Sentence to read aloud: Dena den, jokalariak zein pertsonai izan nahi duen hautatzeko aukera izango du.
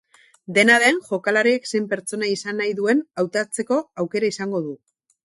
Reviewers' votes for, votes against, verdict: 4, 4, rejected